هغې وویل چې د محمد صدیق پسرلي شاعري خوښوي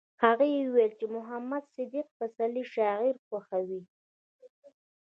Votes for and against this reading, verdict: 2, 0, accepted